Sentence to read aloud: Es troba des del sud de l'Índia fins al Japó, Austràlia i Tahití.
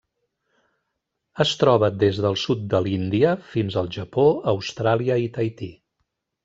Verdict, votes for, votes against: accepted, 3, 0